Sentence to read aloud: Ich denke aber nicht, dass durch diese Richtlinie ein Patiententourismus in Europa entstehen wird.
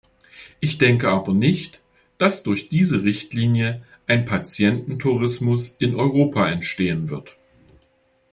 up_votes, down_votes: 2, 0